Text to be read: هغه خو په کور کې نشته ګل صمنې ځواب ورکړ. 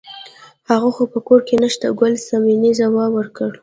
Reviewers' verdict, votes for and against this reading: rejected, 1, 2